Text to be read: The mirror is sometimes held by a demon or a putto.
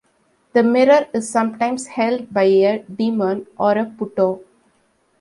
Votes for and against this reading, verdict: 3, 1, accepted